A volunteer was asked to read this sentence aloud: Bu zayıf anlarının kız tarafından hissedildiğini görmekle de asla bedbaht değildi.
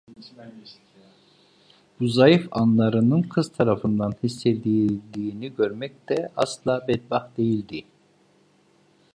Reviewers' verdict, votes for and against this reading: rejected, 1, 2